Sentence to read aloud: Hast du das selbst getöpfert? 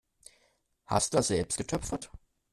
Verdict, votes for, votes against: rejected, 1, 2